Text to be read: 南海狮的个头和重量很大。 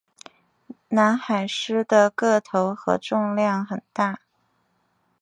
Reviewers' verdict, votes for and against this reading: accepted, 2, 0